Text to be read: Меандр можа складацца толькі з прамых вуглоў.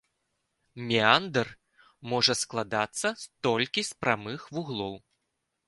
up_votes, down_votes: 1, 2